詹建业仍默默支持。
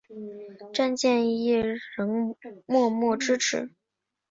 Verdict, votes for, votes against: accepted, 2, 0